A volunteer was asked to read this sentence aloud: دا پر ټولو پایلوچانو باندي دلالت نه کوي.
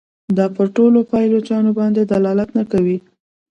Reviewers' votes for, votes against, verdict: 0, 2, rejected